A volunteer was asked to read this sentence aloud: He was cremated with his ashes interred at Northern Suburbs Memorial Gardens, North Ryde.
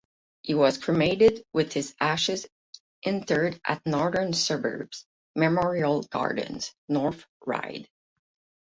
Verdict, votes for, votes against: accepted, 8, 0